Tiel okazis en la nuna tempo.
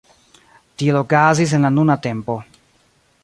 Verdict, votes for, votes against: accepted, 2, 1